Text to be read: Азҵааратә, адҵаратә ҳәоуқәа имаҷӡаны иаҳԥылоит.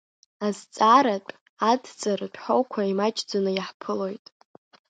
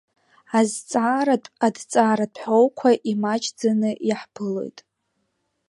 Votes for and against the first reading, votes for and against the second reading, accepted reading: 0, 2, 2, 1, second